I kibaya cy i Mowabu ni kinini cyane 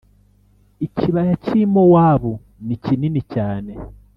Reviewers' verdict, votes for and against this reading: accepted, 2, 0